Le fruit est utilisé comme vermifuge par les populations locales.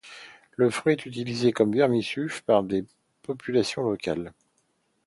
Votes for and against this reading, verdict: 0, 2, rejected